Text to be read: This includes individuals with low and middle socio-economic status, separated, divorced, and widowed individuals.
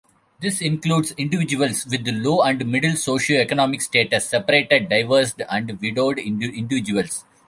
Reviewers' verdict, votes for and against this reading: rejected, 0, 2